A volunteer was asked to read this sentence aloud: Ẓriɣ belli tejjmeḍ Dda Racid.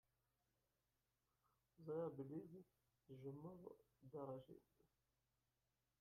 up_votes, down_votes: 1, 2